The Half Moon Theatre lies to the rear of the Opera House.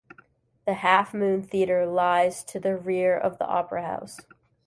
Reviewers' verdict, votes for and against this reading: accepted, 2, 0